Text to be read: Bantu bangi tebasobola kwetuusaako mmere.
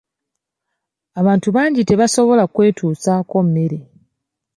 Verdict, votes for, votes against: rejected, 0, 2